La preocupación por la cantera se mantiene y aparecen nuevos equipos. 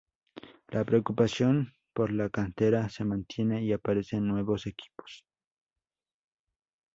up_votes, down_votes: 4, 0